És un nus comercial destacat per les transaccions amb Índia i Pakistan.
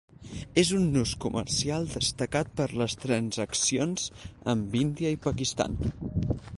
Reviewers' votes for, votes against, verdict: 4, 0, accepted